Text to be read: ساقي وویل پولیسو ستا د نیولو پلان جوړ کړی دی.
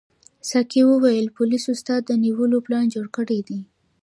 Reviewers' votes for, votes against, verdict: 2, 0, accepted